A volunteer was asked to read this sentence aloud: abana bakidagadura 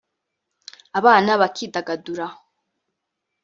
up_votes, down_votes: 1, 2